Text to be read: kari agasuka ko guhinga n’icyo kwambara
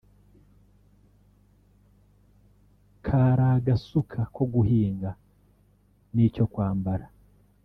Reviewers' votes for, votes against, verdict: 1, 2, rejected